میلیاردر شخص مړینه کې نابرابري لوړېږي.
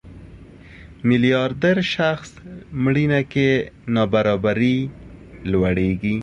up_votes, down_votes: 2, 0